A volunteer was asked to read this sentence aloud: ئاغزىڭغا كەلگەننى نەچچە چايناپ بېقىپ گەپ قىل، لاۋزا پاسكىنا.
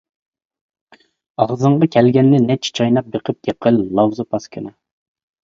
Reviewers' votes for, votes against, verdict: 0, 2, rejected